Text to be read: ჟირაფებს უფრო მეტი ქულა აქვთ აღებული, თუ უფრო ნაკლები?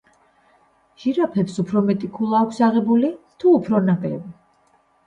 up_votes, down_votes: 2, 0